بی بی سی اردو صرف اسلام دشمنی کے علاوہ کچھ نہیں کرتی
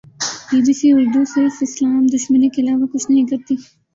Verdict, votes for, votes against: rejected, 0, 3